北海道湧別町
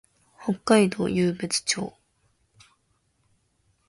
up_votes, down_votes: 2, 0